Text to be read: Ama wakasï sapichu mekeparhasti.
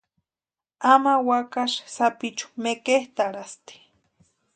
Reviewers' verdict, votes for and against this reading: rejected, 0, 2